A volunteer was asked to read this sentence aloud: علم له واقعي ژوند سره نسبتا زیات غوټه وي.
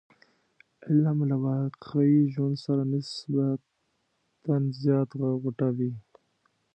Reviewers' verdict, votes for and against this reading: rejected, 1, 2